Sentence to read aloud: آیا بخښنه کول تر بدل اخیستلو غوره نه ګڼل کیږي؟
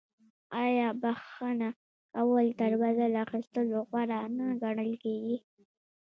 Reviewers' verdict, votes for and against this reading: accepted, 2, 1